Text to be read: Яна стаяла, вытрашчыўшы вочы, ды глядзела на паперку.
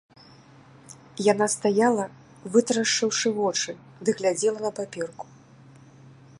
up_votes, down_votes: 2, 1